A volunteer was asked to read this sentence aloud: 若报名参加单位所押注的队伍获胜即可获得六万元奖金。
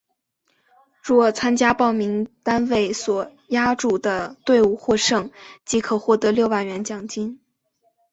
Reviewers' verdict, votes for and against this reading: accepted, 2, 0